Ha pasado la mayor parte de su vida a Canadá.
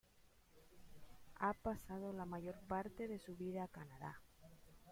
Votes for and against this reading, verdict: 1, 2, rejected